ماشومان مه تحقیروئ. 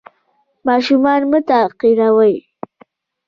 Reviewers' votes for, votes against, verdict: 2, 0, accepted